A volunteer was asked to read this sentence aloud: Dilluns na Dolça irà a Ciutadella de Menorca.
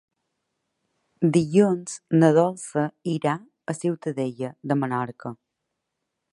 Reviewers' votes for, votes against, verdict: 3, 0, accepted